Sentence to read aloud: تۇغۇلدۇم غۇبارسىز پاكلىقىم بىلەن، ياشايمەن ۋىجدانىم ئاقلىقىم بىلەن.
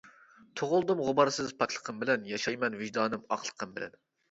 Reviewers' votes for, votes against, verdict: 2, 0, accepted